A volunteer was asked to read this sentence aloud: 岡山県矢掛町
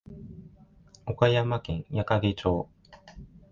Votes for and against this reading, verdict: 2, 1, accepted